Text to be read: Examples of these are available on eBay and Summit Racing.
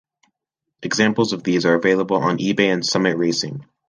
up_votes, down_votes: 3, 0